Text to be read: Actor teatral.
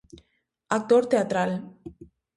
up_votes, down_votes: 2, 0